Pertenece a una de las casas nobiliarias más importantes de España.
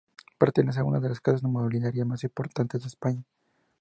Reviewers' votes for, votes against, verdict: 2, 0, accepted